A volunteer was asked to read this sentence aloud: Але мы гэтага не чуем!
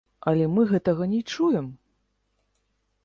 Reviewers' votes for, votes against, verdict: 1, 2, rejected